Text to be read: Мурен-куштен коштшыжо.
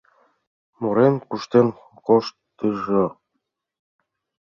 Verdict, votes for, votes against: rejected, 0, 2